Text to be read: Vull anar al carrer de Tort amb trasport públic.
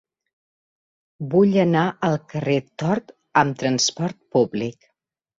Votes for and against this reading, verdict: 2, 1, accepted